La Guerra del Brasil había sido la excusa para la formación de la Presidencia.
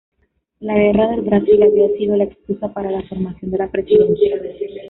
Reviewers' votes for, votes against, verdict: 0, 2, rejected